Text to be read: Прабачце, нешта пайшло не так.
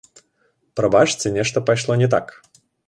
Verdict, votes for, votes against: accepted, 2, 0